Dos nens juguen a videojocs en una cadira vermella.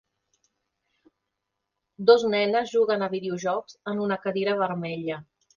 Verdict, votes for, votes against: rejected, 2, 3